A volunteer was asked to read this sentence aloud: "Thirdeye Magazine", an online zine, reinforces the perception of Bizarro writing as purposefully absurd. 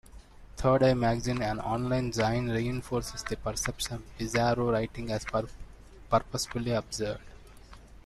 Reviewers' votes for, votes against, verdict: 1, 2, rejected